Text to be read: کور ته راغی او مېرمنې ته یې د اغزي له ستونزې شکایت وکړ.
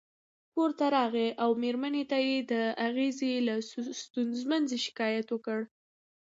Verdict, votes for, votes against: accepted, 2, 0